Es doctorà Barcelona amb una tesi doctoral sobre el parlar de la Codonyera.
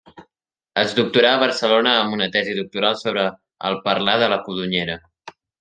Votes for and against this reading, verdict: 3, 0, accepted